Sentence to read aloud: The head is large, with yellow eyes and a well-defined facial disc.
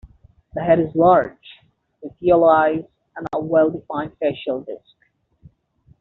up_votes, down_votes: 2, 1